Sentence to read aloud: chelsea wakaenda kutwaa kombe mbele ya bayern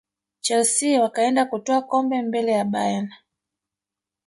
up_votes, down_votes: 1, 2